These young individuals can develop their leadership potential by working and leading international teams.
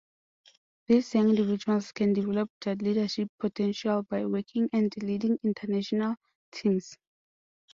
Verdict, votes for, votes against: accepted, 2, 1